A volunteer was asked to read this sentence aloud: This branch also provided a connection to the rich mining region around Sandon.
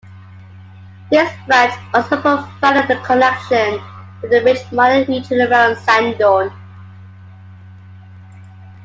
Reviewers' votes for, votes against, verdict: 0, 2, rejected